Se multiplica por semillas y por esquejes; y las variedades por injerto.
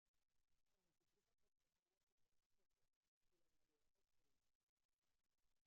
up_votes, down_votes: 0, 2